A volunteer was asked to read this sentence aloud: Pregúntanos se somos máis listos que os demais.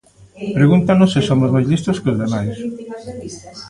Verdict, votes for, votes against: rejected, 1, 2